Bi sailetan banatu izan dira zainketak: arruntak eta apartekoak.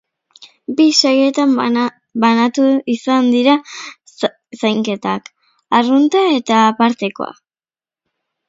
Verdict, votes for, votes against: rejected, 0, 2